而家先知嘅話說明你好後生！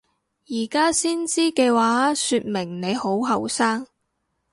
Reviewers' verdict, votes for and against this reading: accepted, 2, 0